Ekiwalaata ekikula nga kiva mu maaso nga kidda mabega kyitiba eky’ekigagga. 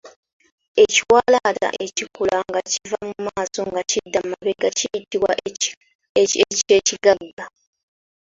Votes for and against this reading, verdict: 1, 3, rejected